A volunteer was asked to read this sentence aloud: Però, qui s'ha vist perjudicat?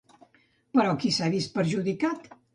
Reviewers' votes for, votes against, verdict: 2, 0, accepted